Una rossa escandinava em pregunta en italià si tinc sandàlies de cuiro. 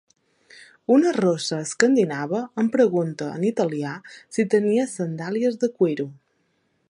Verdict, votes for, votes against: rejected, 0, 2